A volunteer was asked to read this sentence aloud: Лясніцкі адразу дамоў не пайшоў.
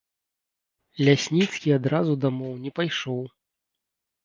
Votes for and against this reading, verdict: 2, 0, accepted